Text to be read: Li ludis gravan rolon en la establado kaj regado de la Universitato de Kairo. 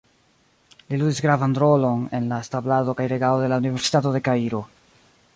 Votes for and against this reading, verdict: 0, 2, rejected